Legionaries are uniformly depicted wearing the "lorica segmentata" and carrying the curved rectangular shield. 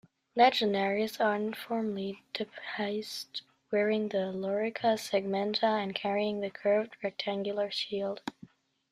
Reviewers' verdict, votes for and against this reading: rejected, 0, 2